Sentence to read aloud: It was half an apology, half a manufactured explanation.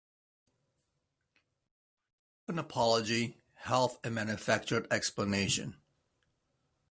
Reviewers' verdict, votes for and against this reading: rejected, 0, 2